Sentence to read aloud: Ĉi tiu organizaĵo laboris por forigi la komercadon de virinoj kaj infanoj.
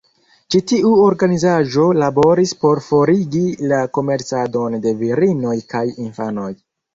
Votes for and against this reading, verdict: 2, 1, accepted